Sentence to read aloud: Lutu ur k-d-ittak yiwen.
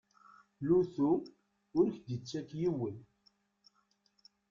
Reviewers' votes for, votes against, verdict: 1, 2, rejected